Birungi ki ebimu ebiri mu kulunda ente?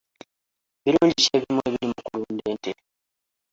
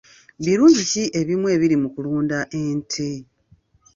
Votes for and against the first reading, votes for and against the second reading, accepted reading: 1, 2, 2, 0, second